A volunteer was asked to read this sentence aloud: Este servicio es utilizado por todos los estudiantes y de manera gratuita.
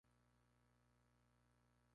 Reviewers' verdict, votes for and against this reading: rejected, 0, 2